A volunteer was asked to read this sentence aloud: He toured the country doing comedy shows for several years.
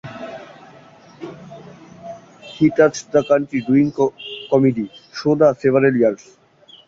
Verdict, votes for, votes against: rejected, 0, 2